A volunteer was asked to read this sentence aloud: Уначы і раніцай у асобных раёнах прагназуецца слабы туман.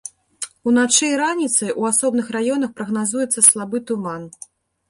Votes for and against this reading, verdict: 0, 2, rejected